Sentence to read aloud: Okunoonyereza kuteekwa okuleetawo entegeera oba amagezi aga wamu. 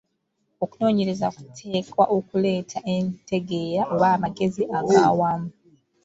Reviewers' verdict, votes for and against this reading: rejected, 0, 2